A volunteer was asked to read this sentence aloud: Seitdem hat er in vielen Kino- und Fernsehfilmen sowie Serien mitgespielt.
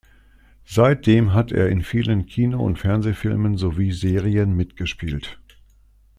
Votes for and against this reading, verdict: 2, 0, accepted